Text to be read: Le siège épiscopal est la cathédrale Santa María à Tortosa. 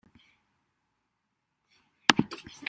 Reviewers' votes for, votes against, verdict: 0, 2, rejected